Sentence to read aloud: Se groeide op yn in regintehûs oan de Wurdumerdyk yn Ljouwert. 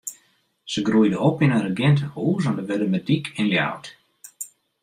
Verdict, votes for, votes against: accepted, 2, 0